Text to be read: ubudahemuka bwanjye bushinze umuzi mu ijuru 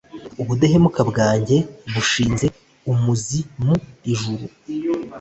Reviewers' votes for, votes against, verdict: 2, 0, accepted